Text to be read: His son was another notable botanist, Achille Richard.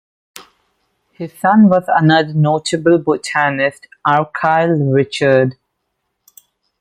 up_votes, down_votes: 1, 2